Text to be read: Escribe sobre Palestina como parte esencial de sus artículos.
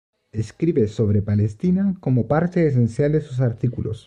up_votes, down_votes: 2, 0